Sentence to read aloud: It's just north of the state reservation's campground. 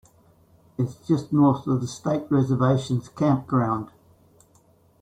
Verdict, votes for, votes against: rejected, 1, 2